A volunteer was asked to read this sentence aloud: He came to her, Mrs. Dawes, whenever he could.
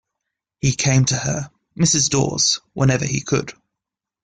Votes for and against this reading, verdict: 2, 0, accepted